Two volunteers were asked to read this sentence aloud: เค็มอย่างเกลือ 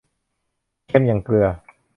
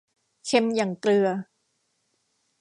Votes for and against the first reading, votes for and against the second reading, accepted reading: 2, 0, 1, 2, first